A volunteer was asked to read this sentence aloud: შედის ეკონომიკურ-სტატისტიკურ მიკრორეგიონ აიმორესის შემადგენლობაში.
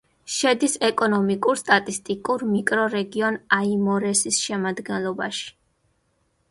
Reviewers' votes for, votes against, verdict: 2, 0, accepted